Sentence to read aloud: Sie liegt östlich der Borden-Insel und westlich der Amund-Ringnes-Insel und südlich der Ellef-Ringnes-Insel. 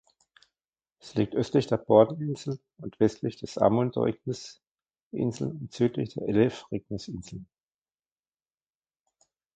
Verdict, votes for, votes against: rejected, 0, 2